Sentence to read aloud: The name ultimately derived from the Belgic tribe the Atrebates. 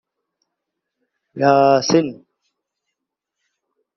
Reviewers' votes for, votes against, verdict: 0, 2, rejected